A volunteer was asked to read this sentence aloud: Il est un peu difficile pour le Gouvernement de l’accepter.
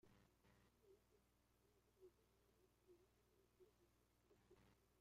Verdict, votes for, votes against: rejected, 0, 2